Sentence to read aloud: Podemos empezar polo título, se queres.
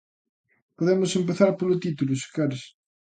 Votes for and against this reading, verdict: 2, 0, accepted